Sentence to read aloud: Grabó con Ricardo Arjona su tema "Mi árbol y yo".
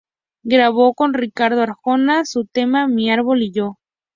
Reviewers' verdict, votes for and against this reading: accepted, 2, 0